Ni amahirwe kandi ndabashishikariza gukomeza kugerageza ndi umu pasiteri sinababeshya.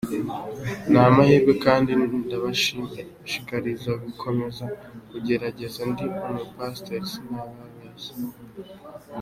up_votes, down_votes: 2, 0